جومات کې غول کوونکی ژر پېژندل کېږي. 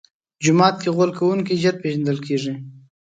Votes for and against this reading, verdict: 1, 2, rejected